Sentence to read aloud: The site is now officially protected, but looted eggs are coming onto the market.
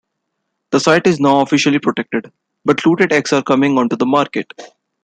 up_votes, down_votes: 2, 0